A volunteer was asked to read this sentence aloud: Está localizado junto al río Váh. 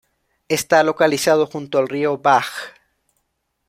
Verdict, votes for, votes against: accepted, 2, 0